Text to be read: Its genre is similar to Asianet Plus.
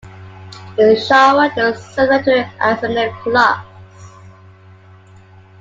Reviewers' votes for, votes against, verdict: 1, 2, rejected